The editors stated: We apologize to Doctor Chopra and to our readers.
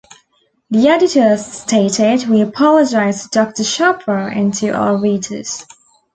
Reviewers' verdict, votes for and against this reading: rejected, 1, 2